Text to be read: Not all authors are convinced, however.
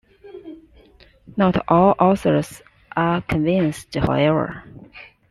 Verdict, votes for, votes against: accepted, 2, 1